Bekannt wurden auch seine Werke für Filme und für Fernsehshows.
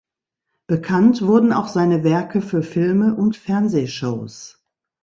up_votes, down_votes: 0, 2